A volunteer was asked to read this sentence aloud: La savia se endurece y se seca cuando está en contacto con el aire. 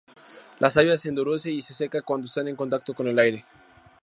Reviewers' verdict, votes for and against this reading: rejected, 0, 2